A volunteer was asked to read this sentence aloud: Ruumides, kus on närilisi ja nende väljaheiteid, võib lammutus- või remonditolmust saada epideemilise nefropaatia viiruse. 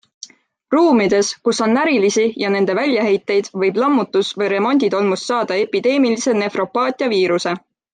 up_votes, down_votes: 3, 0